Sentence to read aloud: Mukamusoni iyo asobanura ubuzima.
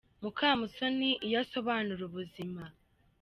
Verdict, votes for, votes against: accepted, 2, 0